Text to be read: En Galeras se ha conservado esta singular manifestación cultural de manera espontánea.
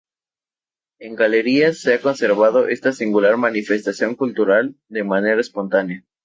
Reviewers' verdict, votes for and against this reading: rejected, 0, 2